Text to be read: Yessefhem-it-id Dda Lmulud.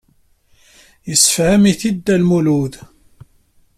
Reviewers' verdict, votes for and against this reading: rejected, 0, 2